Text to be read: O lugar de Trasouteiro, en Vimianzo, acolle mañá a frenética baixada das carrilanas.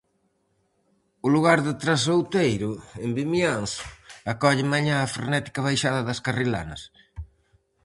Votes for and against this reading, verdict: 4, 0, accepted